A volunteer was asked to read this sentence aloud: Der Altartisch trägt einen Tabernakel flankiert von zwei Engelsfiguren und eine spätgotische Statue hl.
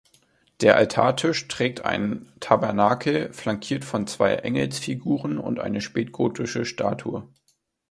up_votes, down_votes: 0, 2